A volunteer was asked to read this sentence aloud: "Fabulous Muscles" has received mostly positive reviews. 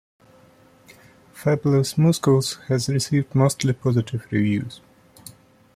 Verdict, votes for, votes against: rejected, 0, 2